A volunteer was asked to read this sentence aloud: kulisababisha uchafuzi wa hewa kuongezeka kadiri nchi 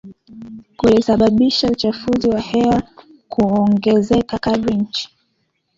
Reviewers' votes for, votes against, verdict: 2, 1, accepted